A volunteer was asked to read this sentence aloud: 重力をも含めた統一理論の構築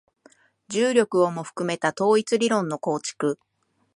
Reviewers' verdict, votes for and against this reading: accepted, 10, 0